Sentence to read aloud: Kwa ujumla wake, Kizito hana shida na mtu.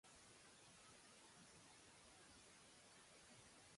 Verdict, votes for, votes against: rejected, 1, 2